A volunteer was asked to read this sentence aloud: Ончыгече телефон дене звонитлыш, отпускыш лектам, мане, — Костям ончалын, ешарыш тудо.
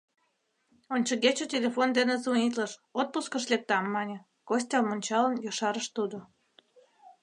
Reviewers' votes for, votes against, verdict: 2, 0, accepted